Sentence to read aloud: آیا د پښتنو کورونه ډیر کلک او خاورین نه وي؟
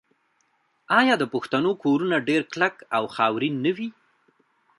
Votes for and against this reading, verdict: 0, 2, rejected